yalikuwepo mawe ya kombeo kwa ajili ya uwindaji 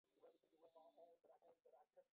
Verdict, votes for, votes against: rejected, 0, 2